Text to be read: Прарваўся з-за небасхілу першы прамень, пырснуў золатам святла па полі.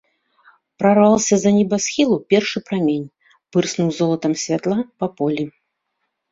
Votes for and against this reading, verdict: 2, 0, accepted